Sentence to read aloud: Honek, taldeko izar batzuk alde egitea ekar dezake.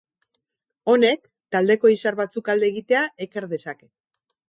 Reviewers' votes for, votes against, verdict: 4, 0, accepted